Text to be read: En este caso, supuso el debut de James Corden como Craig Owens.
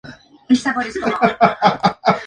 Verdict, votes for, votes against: rejected, 0, 2